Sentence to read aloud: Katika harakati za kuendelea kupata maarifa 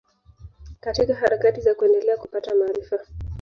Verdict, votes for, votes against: rejected, 0, 2